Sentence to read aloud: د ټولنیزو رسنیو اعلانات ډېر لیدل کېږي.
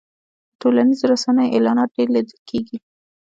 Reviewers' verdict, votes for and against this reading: rejected, 1, 2